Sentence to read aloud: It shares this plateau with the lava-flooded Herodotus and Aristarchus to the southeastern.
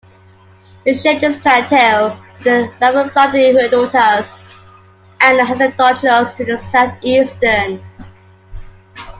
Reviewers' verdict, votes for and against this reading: rejected, 0, 2